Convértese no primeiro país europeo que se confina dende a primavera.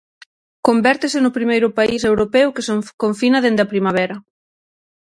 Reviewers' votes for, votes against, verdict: 0, 6, rejected